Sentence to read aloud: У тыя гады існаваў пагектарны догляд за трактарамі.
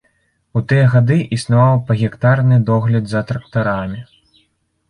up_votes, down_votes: 2, 0